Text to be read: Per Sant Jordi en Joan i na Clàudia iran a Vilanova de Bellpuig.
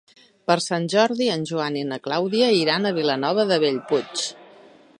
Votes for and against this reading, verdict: 3, 0, accepted